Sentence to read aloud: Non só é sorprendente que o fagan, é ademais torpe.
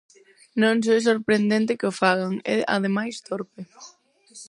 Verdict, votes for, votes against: rejected, 0, 4